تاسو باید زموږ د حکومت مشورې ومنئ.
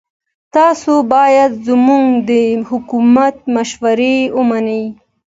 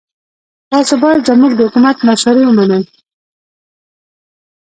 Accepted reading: first